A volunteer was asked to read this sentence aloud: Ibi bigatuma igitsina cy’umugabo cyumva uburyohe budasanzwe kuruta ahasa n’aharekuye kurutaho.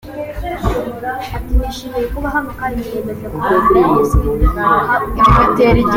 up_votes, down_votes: 0, 2